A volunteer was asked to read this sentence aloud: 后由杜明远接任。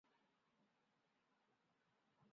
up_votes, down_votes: 0, 3